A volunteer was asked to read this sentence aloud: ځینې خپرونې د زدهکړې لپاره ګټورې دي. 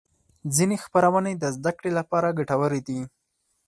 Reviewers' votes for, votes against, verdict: 4, 0, accepted